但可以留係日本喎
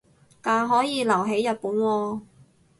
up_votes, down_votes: 2, 0